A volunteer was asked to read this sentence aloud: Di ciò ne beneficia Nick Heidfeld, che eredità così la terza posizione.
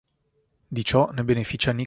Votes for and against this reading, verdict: 0, 3, rejected